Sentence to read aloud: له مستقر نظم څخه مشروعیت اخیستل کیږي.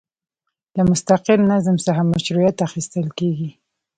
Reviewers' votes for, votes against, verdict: 2, 0, accepted